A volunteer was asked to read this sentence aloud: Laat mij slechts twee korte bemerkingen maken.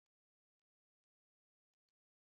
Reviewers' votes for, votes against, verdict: 0, 2, rejected